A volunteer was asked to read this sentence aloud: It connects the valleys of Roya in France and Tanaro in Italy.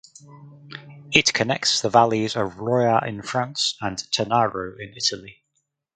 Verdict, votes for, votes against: accepted, 4, 0